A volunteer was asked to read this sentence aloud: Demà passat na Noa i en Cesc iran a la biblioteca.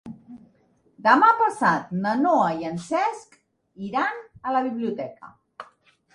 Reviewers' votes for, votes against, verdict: 3, 0, accepted